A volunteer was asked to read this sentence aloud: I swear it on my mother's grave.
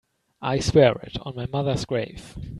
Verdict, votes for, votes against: accepted, 2, 0